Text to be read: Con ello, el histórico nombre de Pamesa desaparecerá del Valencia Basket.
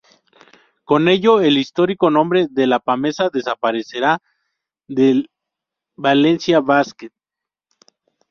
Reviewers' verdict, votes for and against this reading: rejected, 0, 2